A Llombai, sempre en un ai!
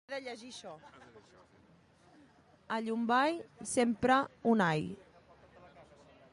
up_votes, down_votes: 0, 2